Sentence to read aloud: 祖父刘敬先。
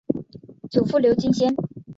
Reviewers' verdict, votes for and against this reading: accepted, 6, 0